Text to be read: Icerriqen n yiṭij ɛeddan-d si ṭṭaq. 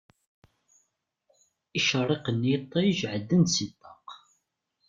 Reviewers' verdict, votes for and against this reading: accepted, 2, 1